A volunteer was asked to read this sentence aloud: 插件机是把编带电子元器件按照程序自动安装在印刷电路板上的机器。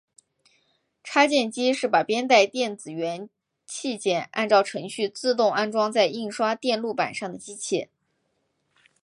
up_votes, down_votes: 2, 0